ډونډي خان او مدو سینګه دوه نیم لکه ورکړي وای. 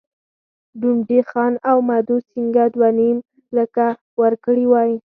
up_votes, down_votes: 4, 2